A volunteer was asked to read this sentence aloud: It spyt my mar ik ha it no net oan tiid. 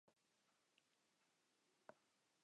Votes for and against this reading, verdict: 0, 2, rejected